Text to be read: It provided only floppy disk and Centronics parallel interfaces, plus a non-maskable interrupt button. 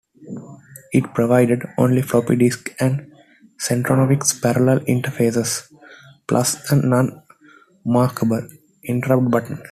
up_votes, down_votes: 1, 2